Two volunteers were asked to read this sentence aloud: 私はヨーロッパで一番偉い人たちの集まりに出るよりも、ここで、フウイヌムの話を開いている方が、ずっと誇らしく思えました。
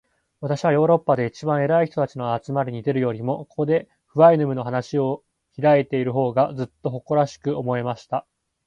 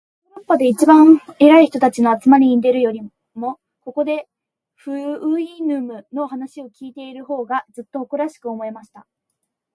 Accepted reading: second